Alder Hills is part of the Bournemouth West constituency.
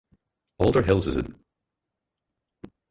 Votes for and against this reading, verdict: 0, 4, rejected